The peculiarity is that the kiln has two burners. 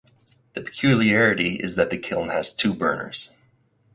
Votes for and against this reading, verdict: 4, 2, accepted